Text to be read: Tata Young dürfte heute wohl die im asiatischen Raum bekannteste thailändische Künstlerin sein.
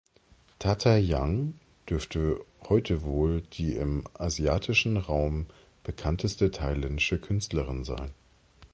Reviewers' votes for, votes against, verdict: 2, 0, accepted